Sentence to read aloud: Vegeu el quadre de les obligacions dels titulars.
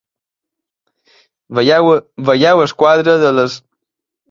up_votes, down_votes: 0, 2